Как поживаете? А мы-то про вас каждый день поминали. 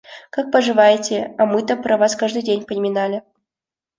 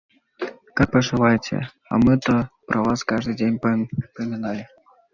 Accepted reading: first